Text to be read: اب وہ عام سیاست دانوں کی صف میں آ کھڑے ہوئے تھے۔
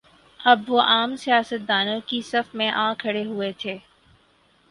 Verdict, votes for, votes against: accepted, 6, 0